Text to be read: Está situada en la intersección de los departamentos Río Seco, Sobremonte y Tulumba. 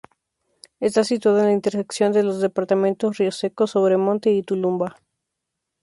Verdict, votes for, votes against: accepted, 2, 0